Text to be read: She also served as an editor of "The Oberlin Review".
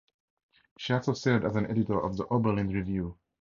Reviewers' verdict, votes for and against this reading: accepted, 2, 0